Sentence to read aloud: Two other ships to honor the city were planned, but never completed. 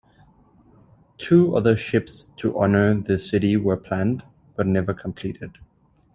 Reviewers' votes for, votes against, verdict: 2, 0, accepted